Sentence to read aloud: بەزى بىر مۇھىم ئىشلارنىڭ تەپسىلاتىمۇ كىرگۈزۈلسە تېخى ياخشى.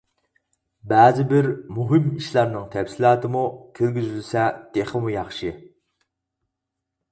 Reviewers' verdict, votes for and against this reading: rejected, 2, 4